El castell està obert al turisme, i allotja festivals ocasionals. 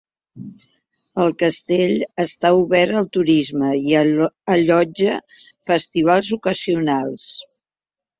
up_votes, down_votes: 0, 2